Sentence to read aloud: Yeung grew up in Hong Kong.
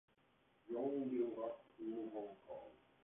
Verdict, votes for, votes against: rejected, 0, 3